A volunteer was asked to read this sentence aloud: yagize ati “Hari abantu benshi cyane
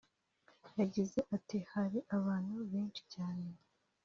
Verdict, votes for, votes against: rejected, 1, 2